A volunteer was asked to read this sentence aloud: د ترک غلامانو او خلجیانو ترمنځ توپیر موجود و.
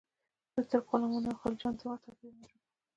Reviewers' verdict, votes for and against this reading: accepted, 2, 0